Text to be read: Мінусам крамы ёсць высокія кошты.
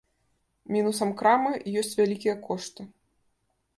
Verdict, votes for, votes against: rejected, 0, 2